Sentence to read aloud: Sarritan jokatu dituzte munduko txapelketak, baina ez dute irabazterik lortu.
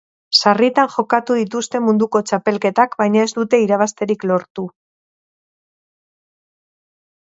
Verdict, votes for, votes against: rejected, 0, 2